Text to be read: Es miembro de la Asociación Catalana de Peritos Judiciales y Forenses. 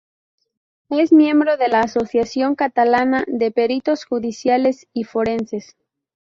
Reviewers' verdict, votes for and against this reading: accepted, 2, 0